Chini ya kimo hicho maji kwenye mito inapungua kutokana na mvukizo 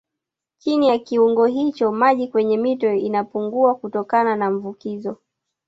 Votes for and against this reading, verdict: 1, 2, rejected